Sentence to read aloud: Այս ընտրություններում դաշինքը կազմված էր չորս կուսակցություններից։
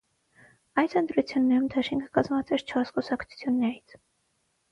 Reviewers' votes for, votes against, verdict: 3, 0, accepted